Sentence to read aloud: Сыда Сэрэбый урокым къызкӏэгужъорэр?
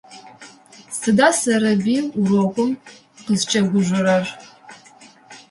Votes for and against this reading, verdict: 2, 0, accepted